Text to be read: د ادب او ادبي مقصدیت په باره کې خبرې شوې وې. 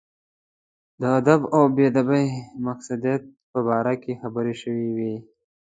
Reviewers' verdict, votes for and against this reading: rejected, 1, 2